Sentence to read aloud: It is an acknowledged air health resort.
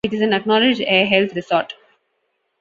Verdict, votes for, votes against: accepted, 2, 0